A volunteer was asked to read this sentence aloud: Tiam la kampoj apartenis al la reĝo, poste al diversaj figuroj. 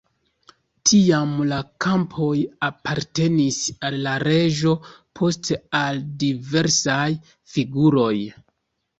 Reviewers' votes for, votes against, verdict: 2, 0, accepted